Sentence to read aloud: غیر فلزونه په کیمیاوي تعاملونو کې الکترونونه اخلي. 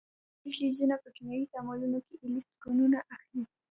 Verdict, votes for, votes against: rejected, 1, 2